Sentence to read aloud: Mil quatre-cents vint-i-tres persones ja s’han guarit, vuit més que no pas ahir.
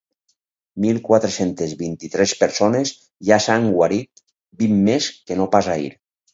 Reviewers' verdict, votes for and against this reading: rejected, 2, 4